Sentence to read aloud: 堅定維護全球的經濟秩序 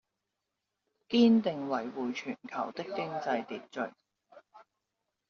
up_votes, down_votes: 0, 2